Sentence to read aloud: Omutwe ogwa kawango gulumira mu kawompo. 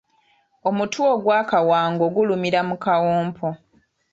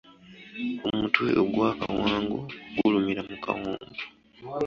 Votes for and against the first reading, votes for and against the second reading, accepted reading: 1, 2, 2, 0, second